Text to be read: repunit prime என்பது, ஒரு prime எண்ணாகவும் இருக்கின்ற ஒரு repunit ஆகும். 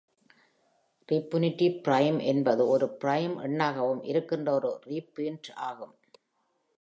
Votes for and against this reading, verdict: 0, 2, rejected